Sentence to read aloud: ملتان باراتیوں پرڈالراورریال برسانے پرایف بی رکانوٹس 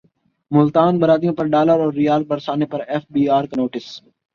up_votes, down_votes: 15, 1